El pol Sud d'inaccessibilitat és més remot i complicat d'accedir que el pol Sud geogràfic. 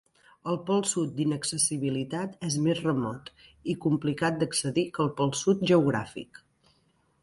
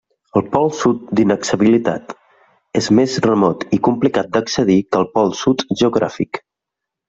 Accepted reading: first